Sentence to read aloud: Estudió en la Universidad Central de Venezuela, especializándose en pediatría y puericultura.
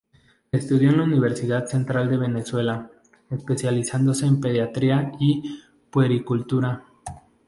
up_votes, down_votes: 2, 0